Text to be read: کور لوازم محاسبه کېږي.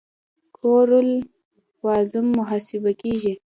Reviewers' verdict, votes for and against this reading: rejected, 0, 2